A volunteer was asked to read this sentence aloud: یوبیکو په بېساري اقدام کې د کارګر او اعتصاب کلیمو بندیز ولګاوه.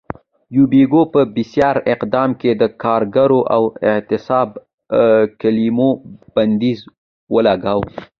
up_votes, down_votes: 2, 1